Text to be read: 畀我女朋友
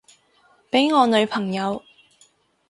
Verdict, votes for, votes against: accepted, 6, 0